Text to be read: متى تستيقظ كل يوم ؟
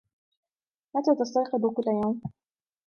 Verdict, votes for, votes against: accepted, 2, 0